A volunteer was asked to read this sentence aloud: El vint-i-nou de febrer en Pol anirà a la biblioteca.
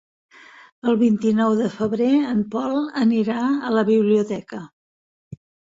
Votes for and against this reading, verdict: 3, 0, accepted